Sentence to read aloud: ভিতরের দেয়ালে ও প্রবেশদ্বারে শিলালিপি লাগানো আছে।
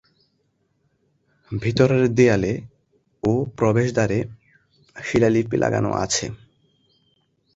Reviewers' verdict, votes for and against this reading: accepted, 2, 0